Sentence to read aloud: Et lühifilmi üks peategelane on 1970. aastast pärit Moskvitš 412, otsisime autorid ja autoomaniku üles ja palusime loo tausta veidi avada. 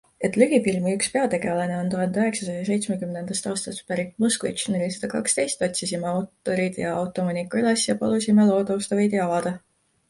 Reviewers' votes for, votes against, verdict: 0, 2, rejected